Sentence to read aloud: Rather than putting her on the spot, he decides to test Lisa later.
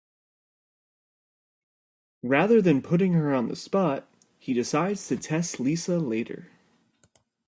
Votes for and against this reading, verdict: 4, 0, accepted